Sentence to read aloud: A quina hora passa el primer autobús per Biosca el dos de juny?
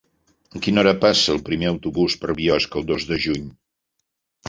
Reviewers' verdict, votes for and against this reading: accepted, 3, 0